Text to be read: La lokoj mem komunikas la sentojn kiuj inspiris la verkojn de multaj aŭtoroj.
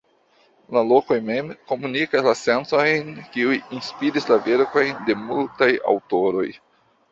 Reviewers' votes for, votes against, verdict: 1, 2, rejected